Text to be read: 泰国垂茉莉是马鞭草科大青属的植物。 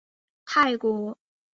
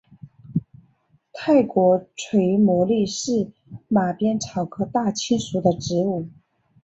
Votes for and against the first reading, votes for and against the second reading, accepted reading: 2, 0, 1, 2, first